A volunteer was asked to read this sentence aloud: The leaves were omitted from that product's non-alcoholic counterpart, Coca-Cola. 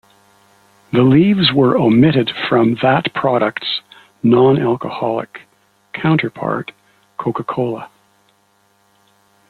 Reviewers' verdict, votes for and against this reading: accepted, 2, 0